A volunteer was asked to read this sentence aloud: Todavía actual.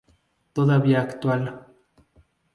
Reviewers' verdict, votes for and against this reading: accepted, 4, 0